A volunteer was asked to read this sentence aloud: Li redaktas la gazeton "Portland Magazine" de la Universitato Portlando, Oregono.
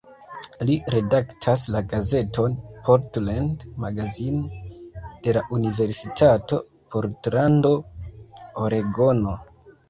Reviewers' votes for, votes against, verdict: 3, 2, accepted